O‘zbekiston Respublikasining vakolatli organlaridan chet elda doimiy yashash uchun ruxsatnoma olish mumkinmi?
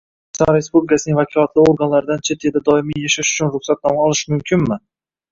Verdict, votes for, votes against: rejected, 2, 3